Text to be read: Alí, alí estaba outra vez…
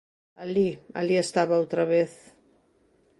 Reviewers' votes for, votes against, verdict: 2, 0, accepted